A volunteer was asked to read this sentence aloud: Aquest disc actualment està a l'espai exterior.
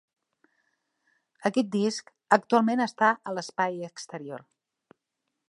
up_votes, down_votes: 2, 0